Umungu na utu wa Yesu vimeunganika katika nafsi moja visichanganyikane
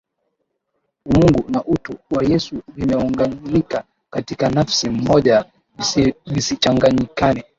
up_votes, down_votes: 0, 2